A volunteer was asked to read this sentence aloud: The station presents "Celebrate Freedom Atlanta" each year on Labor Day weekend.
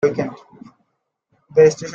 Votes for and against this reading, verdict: 0, 2, rejected